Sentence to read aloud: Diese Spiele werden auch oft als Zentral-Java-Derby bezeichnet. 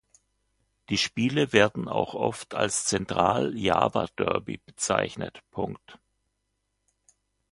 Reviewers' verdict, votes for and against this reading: rejected, 1, 2